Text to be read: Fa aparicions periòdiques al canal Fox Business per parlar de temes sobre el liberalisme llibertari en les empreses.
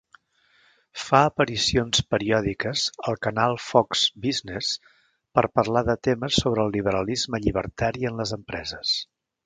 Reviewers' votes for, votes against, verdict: 5, 0, accepted